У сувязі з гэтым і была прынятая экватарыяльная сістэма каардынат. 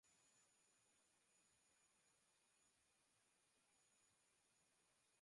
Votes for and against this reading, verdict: 0, 2, rejected